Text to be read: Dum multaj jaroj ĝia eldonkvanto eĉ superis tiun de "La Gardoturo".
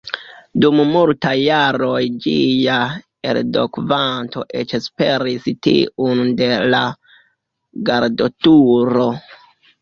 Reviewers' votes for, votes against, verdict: 0, 2, rejected